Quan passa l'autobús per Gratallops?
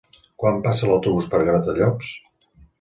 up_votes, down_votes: 2, 0